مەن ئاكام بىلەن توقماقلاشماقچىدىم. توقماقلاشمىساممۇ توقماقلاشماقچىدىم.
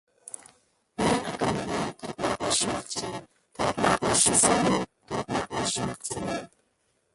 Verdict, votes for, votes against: rejected, 0, 2